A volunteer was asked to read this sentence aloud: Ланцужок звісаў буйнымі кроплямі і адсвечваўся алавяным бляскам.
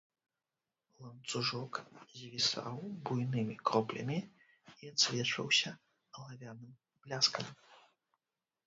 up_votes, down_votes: 0, 2